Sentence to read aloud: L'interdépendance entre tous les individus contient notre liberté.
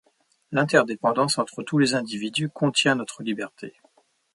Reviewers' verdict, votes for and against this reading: rejected, 1, 2